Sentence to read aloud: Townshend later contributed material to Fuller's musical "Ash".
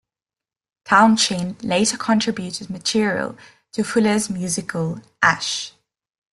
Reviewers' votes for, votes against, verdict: 1, 2, rejected